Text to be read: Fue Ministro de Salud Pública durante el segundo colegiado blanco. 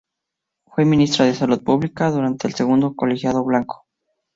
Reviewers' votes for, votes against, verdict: 2, 0, accepted